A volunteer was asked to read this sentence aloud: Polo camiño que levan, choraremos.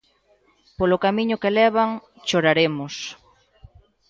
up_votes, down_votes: 2, 0